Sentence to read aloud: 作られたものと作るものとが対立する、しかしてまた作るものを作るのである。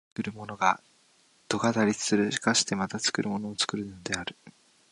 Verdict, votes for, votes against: rejected, 0, 2